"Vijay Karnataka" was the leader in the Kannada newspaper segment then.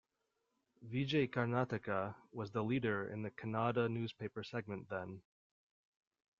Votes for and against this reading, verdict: 0, 2, rejected